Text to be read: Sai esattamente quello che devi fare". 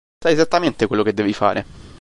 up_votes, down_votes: 1, 2